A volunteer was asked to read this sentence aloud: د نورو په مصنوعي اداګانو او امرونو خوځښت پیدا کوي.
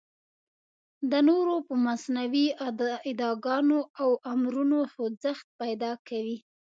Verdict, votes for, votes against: accepted, 2, 1